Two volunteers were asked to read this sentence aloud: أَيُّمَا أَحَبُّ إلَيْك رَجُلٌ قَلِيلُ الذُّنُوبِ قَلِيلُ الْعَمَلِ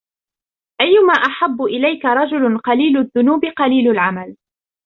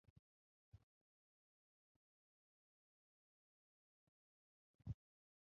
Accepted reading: first